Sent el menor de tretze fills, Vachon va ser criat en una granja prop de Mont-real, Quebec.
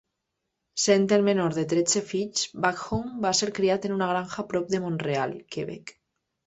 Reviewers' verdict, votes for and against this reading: rejected, 0, 2